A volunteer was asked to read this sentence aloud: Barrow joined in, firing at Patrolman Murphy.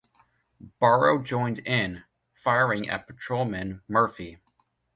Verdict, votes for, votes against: rejected, 0, 2